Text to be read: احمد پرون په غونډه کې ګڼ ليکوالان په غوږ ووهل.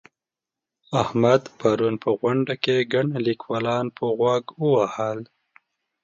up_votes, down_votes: 2, 0